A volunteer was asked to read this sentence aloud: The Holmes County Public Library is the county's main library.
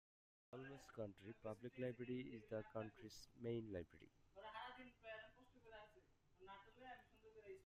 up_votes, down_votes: 0, 2